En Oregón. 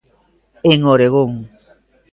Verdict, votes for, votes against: accepted, 2, 0